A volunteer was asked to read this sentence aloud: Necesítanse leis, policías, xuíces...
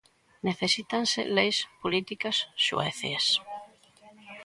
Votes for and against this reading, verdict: 0, 2, rejected